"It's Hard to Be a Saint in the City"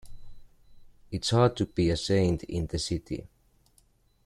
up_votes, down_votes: 2, 0